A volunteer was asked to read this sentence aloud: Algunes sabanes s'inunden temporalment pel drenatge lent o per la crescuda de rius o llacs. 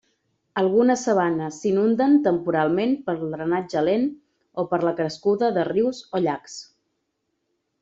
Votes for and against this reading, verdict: 2, 0, accepted